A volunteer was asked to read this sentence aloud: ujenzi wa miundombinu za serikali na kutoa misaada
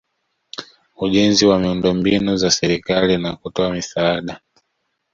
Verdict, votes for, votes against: accepted, 2, 0